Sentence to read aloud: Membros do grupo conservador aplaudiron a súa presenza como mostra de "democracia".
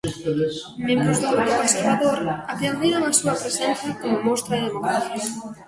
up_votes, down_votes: 0, 2